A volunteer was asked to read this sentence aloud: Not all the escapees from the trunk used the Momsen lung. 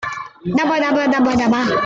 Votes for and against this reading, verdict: 0, 2, rejected